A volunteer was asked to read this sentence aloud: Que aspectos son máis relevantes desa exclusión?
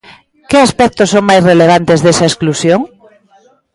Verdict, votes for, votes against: rejected, 1, 2